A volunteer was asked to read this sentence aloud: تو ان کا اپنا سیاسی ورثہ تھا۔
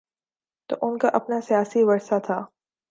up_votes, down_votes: 6, 0